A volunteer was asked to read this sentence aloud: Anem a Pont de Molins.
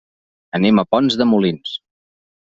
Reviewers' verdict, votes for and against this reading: rejected, 0, 2